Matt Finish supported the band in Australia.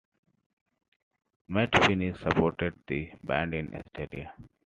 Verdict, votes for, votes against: rejected, 1, 2